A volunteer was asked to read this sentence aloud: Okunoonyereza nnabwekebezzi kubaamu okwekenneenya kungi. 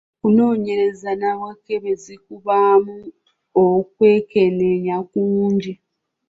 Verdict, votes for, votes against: rejected, 1, 2